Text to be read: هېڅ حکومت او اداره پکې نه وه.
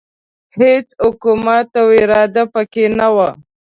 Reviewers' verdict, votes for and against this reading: rejected, 1, 2